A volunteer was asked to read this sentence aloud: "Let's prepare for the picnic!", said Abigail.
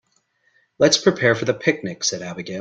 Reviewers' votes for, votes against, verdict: 2, 0, accepted